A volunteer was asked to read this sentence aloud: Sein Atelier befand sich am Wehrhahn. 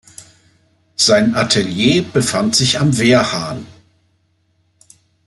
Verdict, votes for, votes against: accepted, 2, 0